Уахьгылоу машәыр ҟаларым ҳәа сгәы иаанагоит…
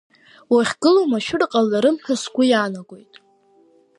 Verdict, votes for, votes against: accepted, 2, 0